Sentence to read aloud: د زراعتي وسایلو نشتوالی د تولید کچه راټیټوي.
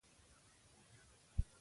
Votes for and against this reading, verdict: 0, 2, rejected